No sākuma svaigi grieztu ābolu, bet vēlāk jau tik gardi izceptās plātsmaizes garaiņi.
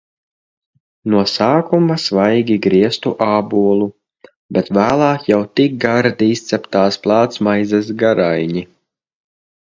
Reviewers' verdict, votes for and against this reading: accepted, 2, 0